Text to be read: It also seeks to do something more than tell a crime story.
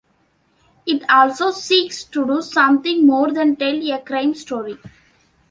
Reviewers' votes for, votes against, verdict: 2, 0, accepted